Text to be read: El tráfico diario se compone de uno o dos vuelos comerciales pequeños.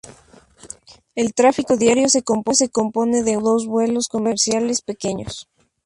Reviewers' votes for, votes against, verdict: 0, 2, rejected